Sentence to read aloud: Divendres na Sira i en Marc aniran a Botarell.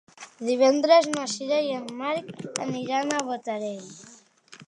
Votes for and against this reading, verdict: 2, 0, accepted